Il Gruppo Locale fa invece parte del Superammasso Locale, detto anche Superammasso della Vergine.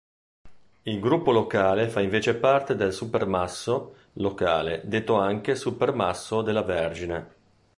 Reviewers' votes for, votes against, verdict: 1, 2, rejected